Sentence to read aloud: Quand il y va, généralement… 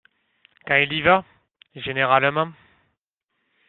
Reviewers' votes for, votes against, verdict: 1, 2, rejected